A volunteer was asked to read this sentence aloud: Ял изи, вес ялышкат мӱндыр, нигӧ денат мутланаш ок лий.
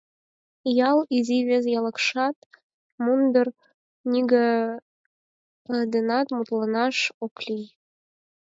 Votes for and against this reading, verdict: 0, 4, rejected